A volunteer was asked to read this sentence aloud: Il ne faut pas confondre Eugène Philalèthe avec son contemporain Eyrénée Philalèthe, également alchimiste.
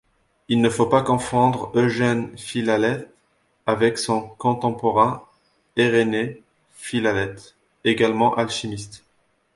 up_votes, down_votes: 2, 0